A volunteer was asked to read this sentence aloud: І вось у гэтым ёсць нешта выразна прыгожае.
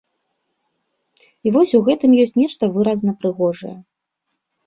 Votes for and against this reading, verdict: 1, 2, rejected